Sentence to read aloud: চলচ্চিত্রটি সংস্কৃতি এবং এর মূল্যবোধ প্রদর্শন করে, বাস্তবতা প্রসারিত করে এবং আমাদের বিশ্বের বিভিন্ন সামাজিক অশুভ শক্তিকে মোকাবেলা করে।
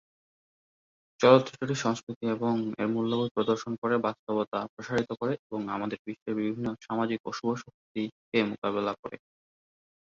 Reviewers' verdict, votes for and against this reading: rejected, 2, 2